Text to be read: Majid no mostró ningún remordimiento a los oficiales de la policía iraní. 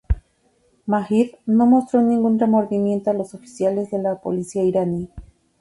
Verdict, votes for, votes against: accepted, 4, 0